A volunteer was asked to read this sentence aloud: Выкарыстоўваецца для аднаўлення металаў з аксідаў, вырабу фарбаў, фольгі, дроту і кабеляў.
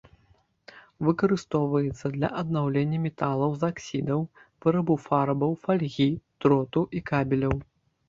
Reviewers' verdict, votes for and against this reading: rejected, 1, 2